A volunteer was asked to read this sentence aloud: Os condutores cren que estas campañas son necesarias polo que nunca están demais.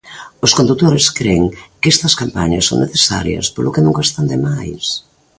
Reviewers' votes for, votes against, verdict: 2, 0, accepted